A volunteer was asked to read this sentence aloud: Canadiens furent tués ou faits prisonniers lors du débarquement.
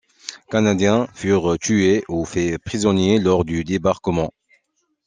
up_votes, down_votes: 2, 0